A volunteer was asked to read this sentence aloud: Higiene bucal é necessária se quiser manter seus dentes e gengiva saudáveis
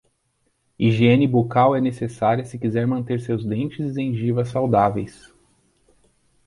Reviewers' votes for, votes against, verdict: 2, 0, accepted